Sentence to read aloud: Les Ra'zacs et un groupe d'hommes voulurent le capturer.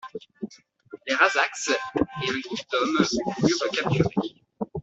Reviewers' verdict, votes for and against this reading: accepted, 2, 1